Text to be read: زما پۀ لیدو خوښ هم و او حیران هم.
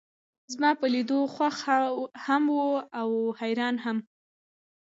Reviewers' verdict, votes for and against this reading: rejected, 0, 2